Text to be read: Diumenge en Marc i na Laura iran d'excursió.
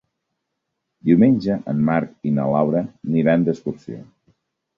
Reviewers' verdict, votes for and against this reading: rejected, 1, 2